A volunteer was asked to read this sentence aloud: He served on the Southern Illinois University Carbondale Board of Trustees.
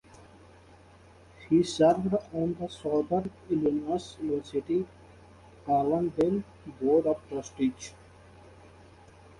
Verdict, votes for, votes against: rejected, 1, 2